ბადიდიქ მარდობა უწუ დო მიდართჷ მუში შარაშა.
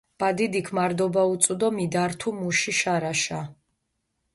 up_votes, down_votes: 0, 2